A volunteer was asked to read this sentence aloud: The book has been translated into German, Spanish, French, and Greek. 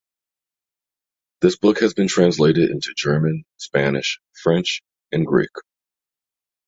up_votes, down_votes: 2, 1